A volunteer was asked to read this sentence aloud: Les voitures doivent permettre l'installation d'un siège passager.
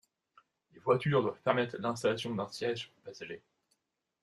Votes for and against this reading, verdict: 2, 0, accepted